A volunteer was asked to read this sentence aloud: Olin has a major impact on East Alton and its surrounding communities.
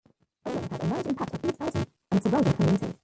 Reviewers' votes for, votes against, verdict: 1, 2, rejected